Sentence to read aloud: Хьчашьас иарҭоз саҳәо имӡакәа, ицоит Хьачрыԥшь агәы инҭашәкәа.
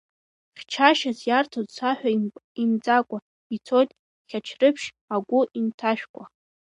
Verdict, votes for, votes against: rejected, 1, 2